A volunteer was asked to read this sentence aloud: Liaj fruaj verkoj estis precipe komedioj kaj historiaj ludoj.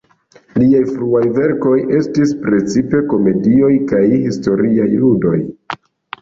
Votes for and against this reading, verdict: 1, 2, rejected